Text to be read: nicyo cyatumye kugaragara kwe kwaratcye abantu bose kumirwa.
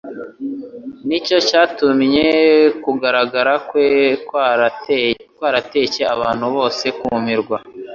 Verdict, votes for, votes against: rejected, 1, 2